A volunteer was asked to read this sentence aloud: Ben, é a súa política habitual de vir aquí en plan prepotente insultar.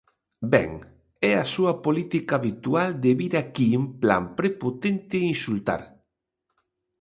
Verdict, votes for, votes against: accepted, 3, 0